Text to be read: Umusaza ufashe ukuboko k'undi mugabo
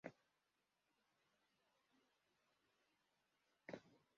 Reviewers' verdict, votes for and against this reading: rejected, 0, 2